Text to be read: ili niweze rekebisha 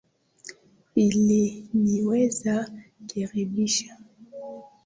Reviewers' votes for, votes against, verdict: 0, 2, rejected